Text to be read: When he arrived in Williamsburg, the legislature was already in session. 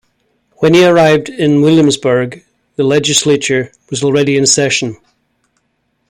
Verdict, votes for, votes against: accepted, 2, 0